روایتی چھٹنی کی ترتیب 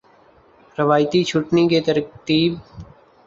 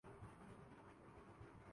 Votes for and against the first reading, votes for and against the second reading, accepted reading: 2, 0, 0, 5, first